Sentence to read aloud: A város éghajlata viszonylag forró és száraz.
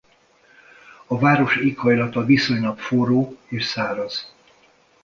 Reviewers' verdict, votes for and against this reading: accepted, 2, 0